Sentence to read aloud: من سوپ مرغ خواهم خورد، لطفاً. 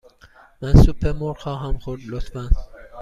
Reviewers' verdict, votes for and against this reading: accepted, 2, 0